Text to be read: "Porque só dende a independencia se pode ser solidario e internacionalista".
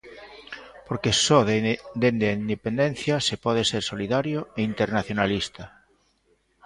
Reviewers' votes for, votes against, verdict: 0, 2, rejected